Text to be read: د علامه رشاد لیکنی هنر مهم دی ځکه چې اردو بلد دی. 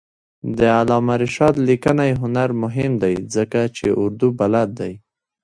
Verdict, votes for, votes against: accepted, 2, 1